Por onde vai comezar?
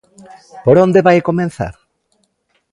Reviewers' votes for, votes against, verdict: 0, 2, rejected